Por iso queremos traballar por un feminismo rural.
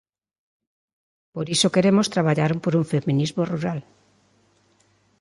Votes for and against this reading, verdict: 2, 0, accepted